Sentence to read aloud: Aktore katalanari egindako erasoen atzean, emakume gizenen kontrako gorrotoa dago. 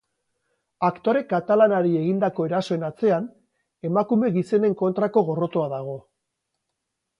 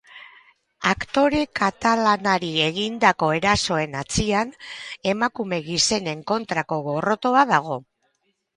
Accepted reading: first